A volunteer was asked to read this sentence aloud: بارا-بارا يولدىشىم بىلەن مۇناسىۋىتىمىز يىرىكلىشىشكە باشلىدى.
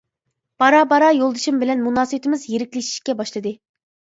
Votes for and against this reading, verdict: 2, 0, accepted